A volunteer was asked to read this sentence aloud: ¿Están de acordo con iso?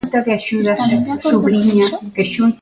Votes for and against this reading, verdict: 0, 2, rejected